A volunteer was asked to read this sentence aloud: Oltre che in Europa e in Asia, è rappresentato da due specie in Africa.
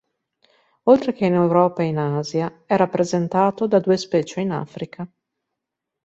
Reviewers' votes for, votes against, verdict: 2, 0, accepted